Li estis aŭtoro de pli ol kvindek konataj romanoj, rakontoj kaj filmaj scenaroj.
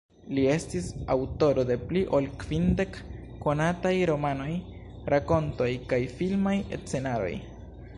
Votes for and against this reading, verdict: 0, 2, rejected